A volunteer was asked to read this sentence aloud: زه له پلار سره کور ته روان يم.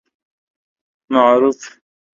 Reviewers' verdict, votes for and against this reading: rejected, 0, 2